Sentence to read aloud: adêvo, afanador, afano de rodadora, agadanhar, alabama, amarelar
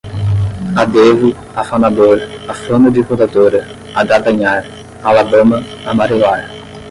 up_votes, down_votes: 5, 5